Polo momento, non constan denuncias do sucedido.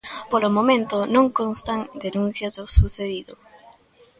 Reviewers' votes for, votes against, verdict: 1, 2, rejected